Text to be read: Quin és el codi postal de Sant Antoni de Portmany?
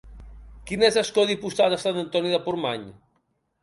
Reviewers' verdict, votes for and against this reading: rejected, 1, 2